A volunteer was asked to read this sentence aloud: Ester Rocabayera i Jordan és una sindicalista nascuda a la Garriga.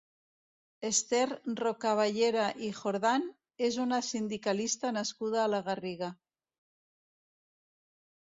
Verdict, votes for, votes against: rejected, 0, 2